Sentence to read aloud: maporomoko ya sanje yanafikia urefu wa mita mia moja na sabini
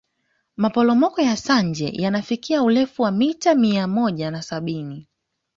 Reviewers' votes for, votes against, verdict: 2, 0, accepted